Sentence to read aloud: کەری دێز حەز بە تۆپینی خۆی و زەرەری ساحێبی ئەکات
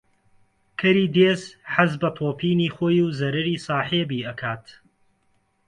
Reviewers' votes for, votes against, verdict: 2, 0, accepted